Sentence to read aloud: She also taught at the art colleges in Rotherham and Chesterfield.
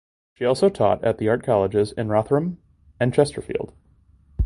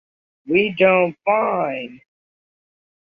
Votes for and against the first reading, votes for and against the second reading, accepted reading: 2, 0, 0, 2, first